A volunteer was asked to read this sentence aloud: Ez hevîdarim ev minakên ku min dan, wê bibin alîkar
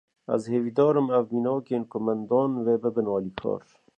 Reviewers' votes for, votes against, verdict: 2, 1, accepted